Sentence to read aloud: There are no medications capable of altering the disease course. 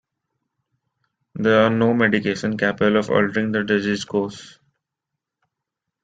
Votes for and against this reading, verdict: 1, 2, rejected